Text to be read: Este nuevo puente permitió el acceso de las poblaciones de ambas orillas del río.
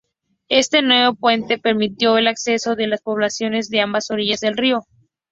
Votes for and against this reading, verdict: 2, 0, accepted